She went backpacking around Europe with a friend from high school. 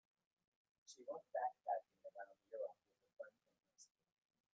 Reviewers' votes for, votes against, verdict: 0, 2, rejected